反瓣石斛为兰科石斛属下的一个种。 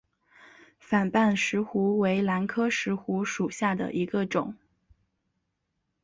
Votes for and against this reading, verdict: 2, 0, accepted